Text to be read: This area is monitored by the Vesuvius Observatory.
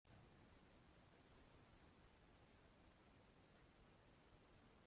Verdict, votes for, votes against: rejected, 1, 2